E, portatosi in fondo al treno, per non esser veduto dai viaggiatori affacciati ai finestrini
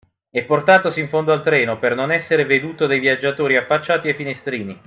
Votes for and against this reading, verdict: 2, 0, accepted